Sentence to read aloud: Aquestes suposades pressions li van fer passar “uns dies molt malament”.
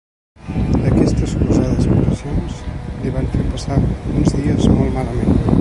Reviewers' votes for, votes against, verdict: 0, 2, rejected